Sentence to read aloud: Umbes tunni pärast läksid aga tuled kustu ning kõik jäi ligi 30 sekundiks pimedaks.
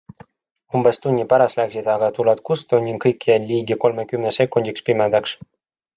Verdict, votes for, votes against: rejected, 0, 2